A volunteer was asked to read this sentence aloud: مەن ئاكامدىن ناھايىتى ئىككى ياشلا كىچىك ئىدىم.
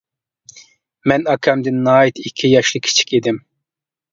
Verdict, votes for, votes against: accepted, 2, 0